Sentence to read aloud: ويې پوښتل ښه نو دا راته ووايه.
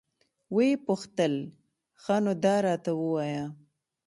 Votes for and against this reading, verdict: 2, 0, accepted